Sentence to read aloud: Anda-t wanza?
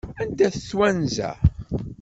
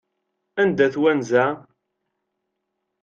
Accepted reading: second